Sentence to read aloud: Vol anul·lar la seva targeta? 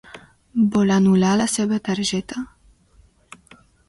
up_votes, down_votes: 2, 0